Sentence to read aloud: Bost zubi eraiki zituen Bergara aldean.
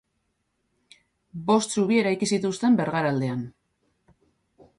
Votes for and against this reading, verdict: 2, 2, rejected